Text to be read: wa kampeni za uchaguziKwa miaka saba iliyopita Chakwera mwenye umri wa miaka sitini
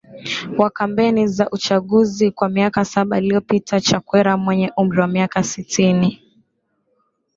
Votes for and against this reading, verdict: 3, 0, accepted